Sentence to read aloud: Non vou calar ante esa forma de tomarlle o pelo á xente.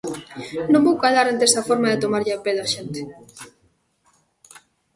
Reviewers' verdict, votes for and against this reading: rejected, 0, 2